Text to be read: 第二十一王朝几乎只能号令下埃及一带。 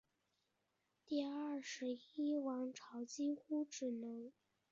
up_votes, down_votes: 1, 2